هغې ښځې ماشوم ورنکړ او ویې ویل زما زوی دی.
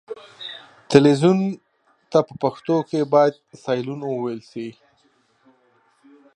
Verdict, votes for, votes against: rejected, 1, 2